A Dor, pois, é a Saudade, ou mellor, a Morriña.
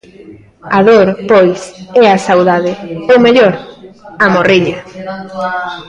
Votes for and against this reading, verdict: 0, 2, rejected